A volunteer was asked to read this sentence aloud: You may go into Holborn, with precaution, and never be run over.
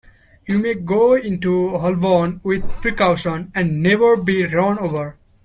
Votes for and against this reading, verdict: 2, 0, accepted